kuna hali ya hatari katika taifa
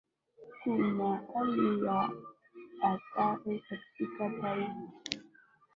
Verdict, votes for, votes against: rejected, 0, 2